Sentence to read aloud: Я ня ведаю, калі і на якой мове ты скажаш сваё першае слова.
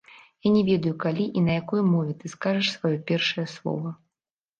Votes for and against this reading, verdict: 0, 2, rejected